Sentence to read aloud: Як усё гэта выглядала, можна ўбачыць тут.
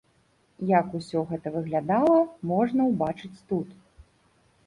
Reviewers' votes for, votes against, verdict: 2, 0, accepted